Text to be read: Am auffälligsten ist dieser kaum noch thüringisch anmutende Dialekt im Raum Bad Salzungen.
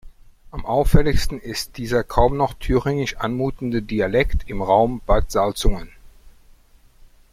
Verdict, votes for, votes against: accepted, 2, 0